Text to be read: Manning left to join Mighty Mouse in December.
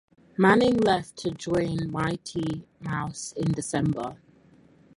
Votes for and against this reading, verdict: 4, 0, accepted